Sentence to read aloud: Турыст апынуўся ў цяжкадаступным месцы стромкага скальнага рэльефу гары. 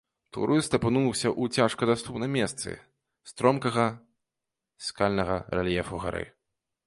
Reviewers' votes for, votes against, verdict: 2, 0, accepted